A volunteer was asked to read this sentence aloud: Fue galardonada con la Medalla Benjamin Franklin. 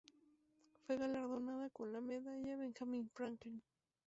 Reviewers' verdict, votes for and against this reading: accepted, 2, 0